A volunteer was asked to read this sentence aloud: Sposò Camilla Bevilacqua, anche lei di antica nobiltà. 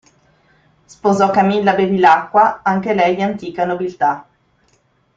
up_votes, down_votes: 2, 0